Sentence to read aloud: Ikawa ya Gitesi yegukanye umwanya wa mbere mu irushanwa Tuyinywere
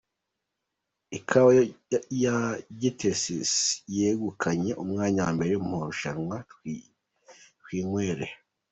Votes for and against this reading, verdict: 1, 2, rejected